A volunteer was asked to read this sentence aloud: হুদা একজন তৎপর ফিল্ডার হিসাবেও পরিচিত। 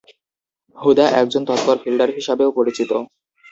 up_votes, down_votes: 2, 0